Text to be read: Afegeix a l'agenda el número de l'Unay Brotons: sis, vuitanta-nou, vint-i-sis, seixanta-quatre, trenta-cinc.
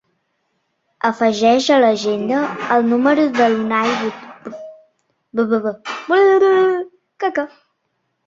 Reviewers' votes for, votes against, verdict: 0, 2, rejected